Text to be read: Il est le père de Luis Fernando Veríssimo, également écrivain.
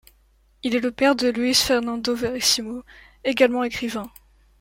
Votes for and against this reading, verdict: 2, 0, accepted